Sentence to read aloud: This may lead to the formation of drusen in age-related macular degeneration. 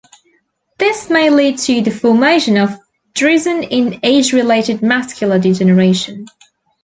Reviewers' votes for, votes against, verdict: 2, 0, accepted